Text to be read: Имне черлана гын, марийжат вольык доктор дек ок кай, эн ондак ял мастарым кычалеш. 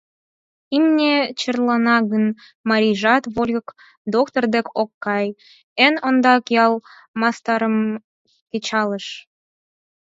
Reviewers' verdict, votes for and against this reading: rejected, 2, 4